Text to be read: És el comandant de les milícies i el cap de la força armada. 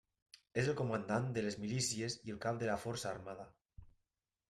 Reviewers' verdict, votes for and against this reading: accepted, 3, 0